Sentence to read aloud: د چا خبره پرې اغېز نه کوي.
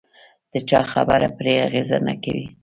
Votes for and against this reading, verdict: 2, 0, accepted